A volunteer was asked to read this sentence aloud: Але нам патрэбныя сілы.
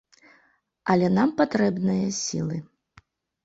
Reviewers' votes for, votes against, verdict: 2, 0, accepted